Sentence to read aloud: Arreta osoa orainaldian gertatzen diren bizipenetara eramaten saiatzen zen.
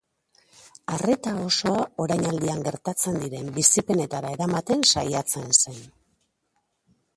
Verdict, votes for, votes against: rejected, 1, 3